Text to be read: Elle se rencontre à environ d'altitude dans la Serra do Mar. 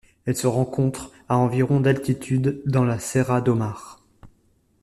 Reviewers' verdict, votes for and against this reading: accepted, 2, 0